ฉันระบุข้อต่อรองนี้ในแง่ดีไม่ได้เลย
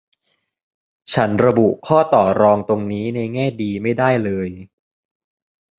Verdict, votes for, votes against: rejected, 0, 2